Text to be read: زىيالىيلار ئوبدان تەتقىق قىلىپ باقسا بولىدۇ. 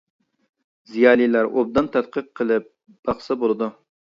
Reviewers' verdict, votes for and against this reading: accepted, 2, 0